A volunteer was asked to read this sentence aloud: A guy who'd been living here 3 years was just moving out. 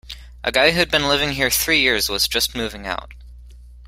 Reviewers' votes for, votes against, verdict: 0, 2, rejected